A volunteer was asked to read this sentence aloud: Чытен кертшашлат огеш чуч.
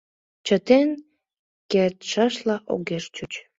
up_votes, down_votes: 0, 2